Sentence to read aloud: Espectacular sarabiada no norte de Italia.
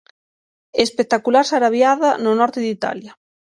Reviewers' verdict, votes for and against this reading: accepted, 6, 0